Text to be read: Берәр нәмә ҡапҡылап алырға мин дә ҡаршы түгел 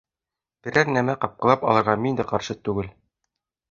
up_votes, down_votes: 2, 0